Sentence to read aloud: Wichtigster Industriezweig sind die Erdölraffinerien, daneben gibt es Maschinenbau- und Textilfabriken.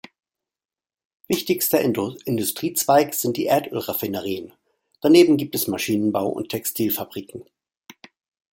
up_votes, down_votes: 1, 2